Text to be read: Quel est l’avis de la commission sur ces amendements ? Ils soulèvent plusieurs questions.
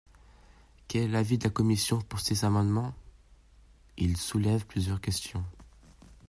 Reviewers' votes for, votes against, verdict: 0, 2, rejected